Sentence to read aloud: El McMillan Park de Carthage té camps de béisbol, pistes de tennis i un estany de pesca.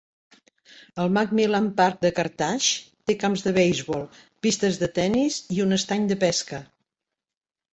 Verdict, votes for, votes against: rejected, 0, 2